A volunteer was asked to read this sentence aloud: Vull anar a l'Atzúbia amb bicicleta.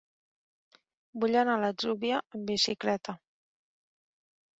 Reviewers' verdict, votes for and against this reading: rejected, 1, 3